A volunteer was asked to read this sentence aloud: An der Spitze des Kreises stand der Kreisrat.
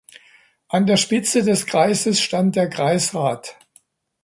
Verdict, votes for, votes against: accepted, 2, 0